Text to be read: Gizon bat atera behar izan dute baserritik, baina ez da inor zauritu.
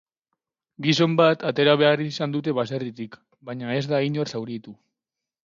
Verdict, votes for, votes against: accepted, 8, 0